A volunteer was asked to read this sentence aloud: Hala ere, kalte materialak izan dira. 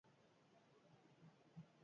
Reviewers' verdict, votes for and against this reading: rejected, 0, 4